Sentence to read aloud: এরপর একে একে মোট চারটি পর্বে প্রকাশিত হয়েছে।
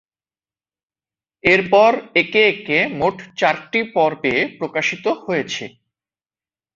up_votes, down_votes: 3, 1